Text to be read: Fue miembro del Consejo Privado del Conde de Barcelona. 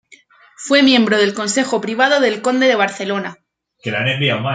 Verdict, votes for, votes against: accepted, 2, 0